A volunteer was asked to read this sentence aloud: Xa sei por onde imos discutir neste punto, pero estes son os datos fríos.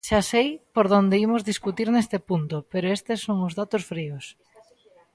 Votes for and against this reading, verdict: 0, 2, rejected